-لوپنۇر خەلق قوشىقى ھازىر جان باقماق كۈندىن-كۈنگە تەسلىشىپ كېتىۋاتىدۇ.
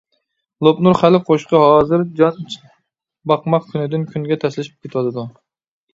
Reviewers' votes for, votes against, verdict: 0, 2, rejected